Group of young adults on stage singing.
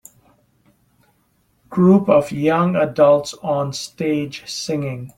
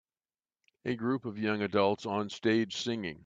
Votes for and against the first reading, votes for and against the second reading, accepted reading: 2, 0, 1, 2, first